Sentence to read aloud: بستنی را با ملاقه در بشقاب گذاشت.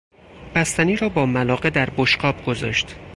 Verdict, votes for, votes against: accepted, 6, 0